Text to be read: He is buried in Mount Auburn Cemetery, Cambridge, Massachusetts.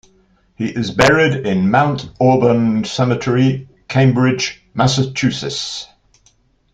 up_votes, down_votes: 1, 2